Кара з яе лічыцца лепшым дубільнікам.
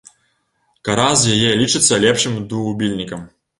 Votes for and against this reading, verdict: 1, 2, rejected